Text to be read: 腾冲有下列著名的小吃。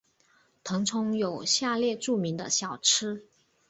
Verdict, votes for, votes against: accepted, 2, 1